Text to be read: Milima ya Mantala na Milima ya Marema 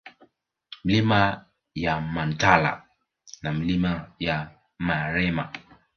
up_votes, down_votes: 0, 2